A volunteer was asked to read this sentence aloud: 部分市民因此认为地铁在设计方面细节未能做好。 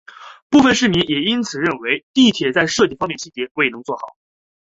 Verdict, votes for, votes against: accepted, 2, 1